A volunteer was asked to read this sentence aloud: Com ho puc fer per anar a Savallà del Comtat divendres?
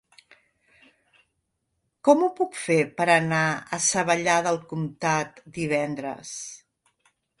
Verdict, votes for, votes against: accepted, 3, 1